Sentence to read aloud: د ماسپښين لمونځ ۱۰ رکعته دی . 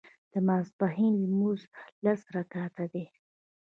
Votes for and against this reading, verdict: 0, 2, rejected